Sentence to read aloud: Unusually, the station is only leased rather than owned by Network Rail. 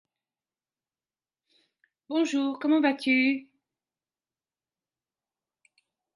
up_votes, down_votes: 0, 3